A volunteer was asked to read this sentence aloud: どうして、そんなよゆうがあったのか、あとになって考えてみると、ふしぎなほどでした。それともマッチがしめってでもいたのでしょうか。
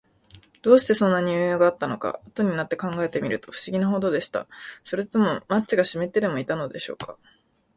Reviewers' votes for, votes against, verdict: 1, 2, rejected